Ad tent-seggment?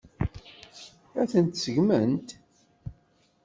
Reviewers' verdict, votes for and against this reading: accepted, 2, 0